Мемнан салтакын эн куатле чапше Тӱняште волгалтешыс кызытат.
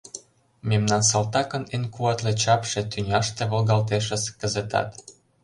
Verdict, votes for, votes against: accepted, 2, 0